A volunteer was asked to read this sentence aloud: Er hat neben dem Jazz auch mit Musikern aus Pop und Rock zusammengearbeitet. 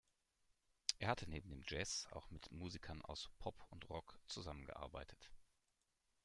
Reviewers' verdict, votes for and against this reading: rejected, 0, 2